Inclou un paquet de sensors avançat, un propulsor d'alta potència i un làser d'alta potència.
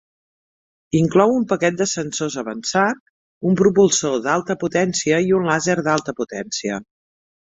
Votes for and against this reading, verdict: 2, 0, accepted